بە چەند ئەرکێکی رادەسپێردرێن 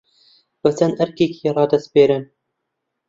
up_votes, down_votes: 1, 2